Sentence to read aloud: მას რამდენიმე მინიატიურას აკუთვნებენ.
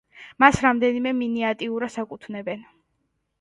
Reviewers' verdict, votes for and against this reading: accepted, 2, 1